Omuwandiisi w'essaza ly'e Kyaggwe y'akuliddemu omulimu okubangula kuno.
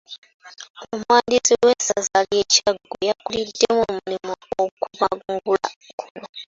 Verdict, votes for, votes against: accepted, 2, 1